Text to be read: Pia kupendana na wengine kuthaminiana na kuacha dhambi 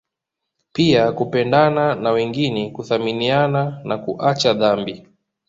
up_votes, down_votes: 2, 0